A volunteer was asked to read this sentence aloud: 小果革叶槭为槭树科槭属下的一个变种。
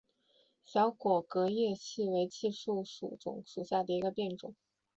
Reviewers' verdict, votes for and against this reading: rejected, 0, 2